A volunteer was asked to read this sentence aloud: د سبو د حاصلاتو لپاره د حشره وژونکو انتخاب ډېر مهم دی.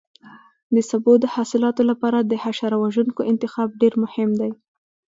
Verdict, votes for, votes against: accepted, 2, 0